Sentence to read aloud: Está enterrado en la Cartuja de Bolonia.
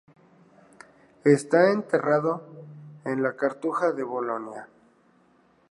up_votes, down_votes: 0, 2